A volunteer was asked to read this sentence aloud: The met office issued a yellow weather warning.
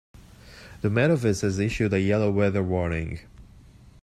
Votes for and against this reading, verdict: 0, 2, rejected